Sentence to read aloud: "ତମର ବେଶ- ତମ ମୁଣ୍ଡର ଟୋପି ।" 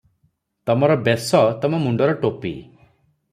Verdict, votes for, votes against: accepted, 3, 0